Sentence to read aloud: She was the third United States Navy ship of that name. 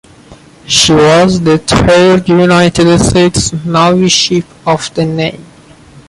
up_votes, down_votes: 0, 2